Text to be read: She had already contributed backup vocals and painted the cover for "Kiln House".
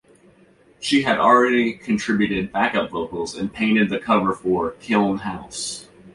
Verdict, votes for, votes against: accepted, 2, 0